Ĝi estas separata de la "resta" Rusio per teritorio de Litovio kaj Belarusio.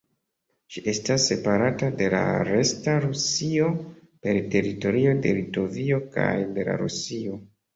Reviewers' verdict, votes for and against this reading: rejected, 1, 2